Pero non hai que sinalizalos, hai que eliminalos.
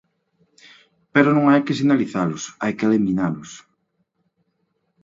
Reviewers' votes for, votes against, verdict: 2, 0, accepted